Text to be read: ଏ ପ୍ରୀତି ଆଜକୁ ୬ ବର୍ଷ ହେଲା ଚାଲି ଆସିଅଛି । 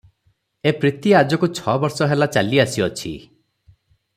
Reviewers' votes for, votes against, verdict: 0, 2, rejected